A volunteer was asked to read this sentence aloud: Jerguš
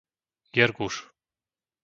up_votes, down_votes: 2, 0